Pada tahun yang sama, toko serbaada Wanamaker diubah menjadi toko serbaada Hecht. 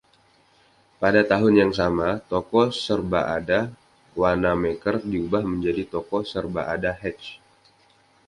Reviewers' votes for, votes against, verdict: 2, 0, accepted